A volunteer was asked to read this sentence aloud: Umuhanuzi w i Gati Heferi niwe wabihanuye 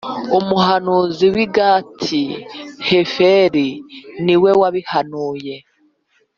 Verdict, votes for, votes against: accepted, 3, 0